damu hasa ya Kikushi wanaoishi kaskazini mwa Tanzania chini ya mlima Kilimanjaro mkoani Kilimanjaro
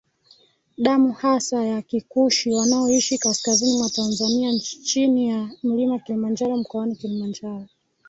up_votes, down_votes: 1, 2